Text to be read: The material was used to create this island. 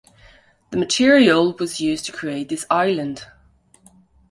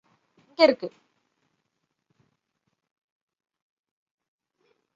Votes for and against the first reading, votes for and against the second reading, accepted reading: 2, 0, 0, 2, first